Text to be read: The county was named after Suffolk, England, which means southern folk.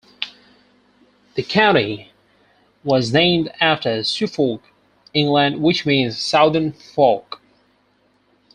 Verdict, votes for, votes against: rejected, 0, 4